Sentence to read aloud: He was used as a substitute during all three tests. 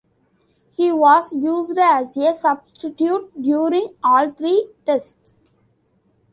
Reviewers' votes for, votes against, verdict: 1, 2, rejected